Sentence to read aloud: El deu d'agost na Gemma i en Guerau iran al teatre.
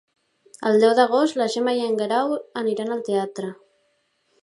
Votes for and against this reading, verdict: 1, 2, rejected